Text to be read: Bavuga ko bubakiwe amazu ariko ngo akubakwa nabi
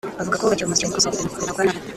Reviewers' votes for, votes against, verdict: 0, 2, rejected